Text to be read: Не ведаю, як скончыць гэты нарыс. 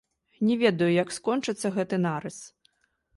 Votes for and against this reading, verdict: 0, 2, rejected